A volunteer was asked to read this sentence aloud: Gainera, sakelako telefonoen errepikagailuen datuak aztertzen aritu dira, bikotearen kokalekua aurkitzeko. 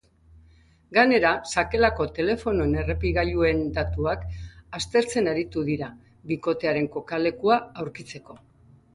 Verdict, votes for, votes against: accepted, 2, 0